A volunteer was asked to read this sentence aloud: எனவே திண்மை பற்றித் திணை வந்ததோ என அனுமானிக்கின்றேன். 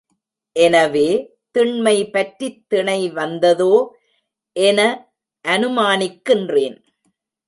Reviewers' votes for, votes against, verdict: 2, 0, accepted